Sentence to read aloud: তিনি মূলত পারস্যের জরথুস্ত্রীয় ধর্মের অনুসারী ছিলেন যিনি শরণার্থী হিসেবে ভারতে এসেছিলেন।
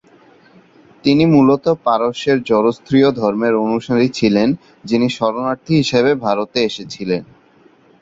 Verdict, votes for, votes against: rejected, 0, 2